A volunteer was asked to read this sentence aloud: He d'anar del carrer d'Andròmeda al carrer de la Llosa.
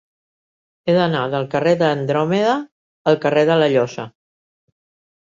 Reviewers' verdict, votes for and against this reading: accepted, 2, 0